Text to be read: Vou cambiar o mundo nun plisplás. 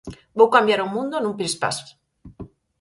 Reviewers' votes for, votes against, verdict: 2, 4, rejected